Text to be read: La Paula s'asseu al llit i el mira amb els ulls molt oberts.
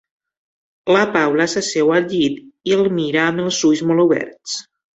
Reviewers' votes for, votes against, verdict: 2, 0, accepted